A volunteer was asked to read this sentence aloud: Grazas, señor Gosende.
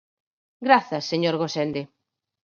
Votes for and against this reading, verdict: 4, 0, accepted